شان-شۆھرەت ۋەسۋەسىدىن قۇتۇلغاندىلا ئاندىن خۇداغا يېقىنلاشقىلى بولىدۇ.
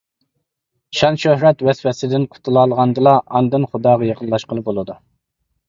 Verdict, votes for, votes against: rejected, 1, 2